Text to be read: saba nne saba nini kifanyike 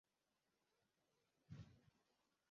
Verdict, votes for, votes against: rejected, 0, 2